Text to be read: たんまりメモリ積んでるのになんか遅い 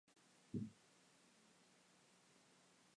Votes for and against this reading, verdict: 0, 2, rejected